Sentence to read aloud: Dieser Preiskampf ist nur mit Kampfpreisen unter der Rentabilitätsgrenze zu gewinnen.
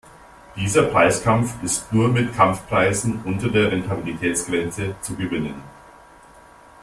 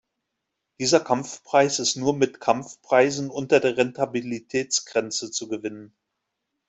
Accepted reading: first